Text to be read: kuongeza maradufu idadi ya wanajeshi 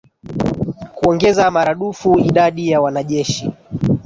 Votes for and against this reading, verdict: 1, 2, rejected